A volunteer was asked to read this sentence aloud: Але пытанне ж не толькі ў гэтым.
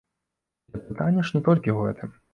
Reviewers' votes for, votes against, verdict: 1, 2, rejected